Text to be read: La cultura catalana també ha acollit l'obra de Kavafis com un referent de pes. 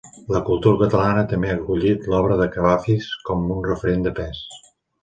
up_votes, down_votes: 2, 0